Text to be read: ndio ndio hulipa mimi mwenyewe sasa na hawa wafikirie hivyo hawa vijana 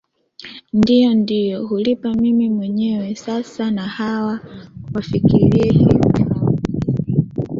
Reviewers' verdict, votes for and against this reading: rejected, 1, 2